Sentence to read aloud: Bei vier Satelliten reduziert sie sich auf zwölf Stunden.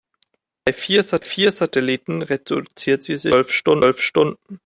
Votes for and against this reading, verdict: 0, 2, rejected